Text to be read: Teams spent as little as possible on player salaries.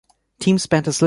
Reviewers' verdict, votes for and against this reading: rejected, 1, 2